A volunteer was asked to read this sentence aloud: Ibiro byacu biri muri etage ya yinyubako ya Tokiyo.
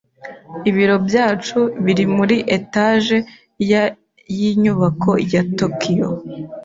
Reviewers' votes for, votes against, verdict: 0, 2, rejected